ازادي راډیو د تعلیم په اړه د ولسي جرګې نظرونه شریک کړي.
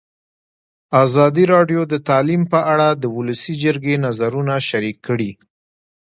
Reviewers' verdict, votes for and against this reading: accepted, 2, 0